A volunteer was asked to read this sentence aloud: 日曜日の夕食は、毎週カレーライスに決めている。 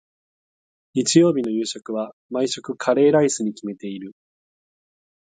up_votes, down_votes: 4, 0